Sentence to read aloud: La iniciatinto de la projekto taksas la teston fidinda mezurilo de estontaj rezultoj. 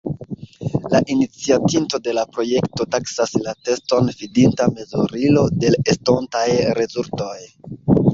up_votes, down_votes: 1, 2